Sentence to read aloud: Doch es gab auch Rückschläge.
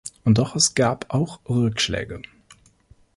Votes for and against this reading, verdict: 1, 2, rejected